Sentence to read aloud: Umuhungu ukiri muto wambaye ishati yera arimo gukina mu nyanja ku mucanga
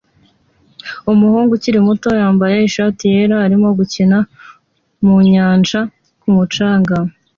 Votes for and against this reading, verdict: 2, 0, accepted